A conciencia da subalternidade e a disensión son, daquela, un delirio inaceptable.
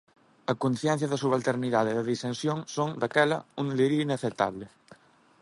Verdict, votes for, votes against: rejected, 1, 2